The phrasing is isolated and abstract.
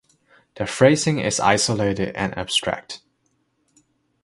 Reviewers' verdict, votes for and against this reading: accepted, 2, 0